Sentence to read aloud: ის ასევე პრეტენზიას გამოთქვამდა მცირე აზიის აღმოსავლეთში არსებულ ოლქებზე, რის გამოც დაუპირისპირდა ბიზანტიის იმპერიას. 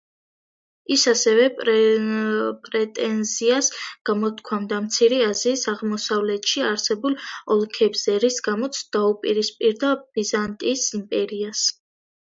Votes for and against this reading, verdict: 1, 2, rejected